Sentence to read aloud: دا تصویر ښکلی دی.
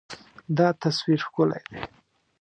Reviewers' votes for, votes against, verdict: 2, 0, accepted